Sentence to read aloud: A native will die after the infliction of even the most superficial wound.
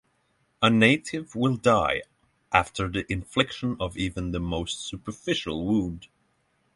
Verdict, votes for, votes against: rejected, 0, 3